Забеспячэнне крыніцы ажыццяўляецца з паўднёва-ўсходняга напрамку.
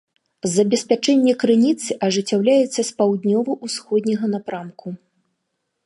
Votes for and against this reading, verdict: 3, 0, accepted